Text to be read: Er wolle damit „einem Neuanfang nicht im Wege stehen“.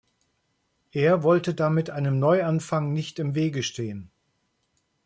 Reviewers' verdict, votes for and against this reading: rejected, 1, 2